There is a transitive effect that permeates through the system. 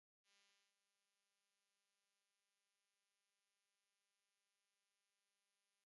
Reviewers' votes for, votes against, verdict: 0, 2, rejected